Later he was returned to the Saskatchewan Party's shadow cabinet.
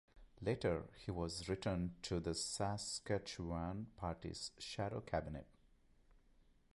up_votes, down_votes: 2, 0